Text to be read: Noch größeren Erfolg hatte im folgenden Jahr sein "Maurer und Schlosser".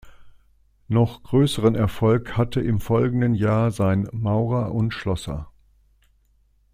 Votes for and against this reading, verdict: 2, 1, accepted